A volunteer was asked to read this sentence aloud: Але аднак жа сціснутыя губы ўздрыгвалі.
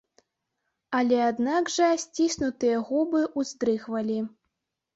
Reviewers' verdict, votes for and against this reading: rejected, 1, 2